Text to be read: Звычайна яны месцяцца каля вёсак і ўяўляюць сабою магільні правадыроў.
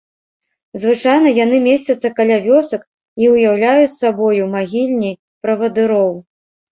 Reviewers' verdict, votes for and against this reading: accepted, 2, 0